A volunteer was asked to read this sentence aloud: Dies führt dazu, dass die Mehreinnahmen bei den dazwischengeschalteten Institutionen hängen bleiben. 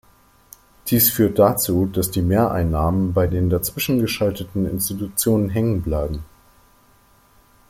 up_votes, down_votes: 2, 0